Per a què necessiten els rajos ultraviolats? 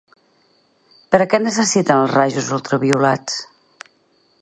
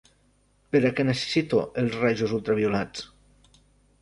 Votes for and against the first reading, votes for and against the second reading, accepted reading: 6, 0, 0, 2, first